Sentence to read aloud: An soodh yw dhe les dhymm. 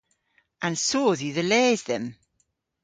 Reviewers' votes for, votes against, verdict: 2, 0, accepted